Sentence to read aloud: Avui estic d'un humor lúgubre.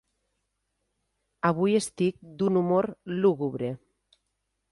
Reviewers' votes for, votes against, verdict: 3, 0, accepted